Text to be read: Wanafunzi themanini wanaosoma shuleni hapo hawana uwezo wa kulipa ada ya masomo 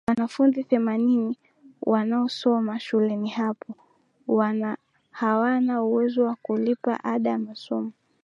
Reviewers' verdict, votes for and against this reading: accepted, 6, 4